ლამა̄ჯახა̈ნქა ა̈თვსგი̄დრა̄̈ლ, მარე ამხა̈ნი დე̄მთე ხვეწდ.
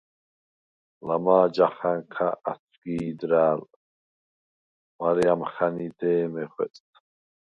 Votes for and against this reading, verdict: 0, 4, rejected